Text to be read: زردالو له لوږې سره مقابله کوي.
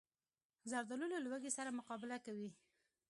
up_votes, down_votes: 2, 1